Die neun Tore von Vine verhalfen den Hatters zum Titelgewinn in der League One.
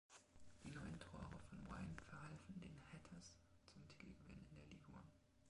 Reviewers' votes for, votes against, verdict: 1, 2, rejected